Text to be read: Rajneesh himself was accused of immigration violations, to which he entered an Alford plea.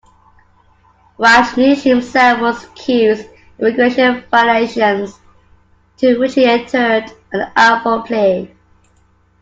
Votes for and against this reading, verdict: 0, 2, rejected